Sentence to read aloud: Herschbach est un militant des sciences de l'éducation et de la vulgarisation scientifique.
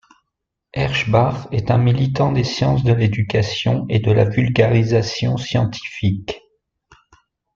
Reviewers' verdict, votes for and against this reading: rejected, 1, 2